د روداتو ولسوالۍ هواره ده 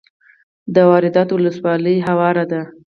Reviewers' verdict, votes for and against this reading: accepted, 4, 0